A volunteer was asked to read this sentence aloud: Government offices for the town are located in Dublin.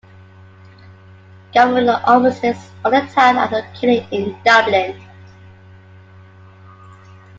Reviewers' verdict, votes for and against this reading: rejected, 0, 2